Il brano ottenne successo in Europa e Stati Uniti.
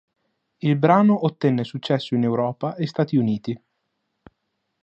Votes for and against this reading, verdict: 2, 0, accepted